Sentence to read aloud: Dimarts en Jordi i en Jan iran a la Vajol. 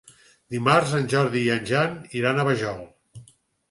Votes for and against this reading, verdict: 2, 4, rejected